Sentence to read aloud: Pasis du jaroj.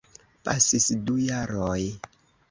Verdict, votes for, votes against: accepted, 2, 0